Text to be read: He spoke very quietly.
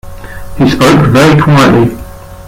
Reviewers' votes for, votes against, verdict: 0, 2, rejected